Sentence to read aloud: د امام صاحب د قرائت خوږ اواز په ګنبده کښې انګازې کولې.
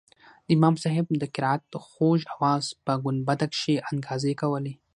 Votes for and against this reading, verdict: 6, 0, accepted